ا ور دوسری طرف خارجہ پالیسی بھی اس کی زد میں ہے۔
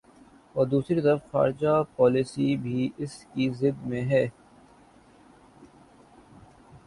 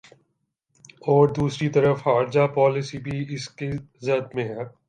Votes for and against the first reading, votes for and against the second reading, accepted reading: 0, 2, 3, 0, second